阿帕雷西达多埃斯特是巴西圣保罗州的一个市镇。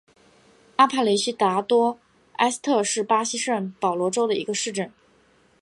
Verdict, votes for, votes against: accepted, 2, 0